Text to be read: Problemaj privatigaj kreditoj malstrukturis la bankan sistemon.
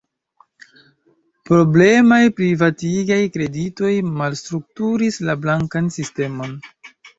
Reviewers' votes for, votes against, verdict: 1, 2, rejected